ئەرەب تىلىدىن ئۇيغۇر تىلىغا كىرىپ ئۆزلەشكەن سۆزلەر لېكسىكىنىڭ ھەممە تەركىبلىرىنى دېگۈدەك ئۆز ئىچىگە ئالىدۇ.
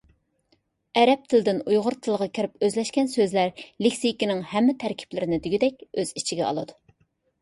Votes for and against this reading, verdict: 2, 1, accepted